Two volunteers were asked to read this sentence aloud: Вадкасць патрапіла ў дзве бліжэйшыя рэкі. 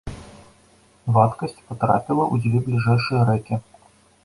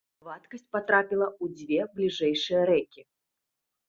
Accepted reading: second